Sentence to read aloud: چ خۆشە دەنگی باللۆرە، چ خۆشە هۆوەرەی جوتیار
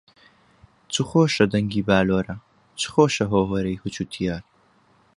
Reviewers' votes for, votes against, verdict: 2, 0, accepted